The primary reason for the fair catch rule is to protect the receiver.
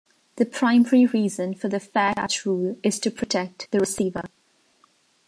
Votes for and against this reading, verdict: 0, 2, rejected